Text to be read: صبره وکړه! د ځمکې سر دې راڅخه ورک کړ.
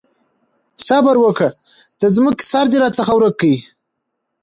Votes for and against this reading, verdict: 2, 0, accepted